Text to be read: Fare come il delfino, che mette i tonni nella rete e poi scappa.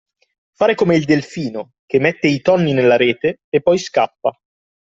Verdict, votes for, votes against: accepted, 2, 0